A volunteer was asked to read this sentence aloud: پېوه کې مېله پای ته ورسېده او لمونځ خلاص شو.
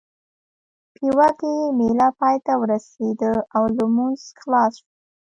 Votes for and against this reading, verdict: 1, 2, rejected